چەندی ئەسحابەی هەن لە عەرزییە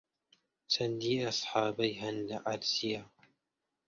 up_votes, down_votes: 2, 1